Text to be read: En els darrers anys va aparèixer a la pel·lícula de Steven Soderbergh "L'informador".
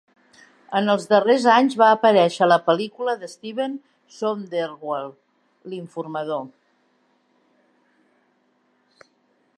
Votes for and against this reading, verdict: 1, 2, rejected